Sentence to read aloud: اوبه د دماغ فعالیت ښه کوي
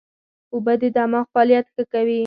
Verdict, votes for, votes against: accepted, 4, 0